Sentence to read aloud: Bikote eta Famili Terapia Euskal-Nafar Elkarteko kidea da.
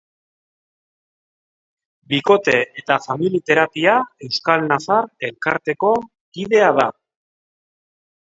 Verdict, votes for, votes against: accepted, 2, 0